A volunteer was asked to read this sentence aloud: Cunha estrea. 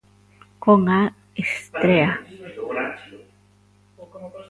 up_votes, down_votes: 1, 2